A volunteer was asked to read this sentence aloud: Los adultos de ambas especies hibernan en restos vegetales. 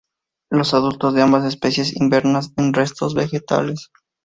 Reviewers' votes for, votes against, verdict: 0, 2, rejected